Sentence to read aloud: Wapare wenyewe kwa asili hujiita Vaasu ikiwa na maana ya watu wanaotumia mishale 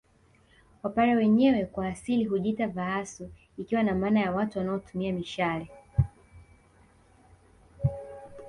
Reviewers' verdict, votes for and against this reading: rejected, 0, 2